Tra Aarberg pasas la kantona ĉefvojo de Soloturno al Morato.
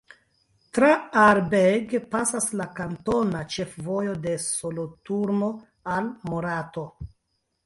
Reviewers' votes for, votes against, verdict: 2, 1, accepted